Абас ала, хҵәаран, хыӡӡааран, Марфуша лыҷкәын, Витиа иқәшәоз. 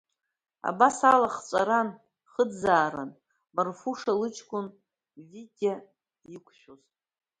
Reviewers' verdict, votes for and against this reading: accepted, 2, 0